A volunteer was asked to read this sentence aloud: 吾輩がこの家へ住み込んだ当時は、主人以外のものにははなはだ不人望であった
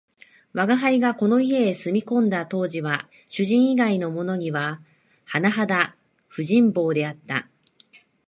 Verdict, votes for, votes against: accepted, 2, 0